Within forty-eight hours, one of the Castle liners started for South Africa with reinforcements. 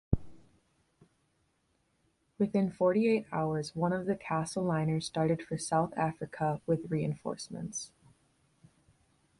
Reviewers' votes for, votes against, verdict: 2, 0, accepted